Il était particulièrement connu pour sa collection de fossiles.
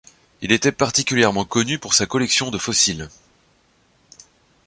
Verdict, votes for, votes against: accepted, 2, 0